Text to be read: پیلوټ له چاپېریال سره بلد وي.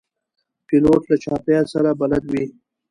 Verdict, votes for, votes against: accepted, 2, 0